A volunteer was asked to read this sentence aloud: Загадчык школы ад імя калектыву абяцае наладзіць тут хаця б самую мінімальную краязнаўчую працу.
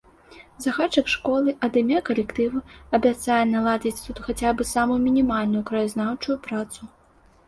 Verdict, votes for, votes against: accepted, 2, 0